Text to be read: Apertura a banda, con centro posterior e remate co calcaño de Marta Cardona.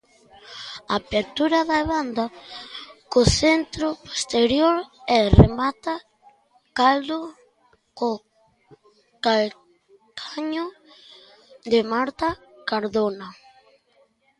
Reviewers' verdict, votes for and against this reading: rejected, 0, 2